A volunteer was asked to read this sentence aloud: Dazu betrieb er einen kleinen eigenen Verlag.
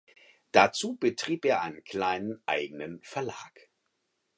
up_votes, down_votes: 4, 0